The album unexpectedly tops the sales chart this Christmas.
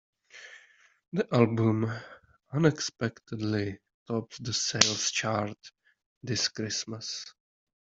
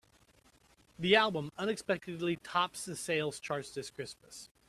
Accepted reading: second